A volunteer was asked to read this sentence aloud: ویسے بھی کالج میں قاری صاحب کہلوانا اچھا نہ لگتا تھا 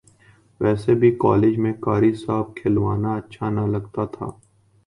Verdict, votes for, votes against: accepted, 3, 1